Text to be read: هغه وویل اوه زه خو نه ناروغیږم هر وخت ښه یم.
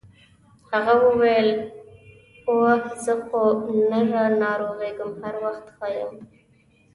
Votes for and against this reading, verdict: 1, 2, rejected